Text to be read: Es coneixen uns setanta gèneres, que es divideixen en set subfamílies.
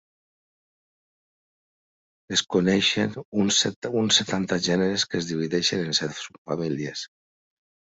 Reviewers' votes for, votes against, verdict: 0, 2, rejected